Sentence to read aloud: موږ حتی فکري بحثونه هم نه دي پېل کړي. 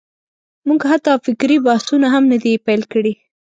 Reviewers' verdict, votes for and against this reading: accepted, 2, 0